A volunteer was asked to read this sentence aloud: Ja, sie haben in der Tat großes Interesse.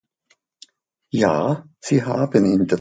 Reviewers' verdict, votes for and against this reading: rejected, 0, 2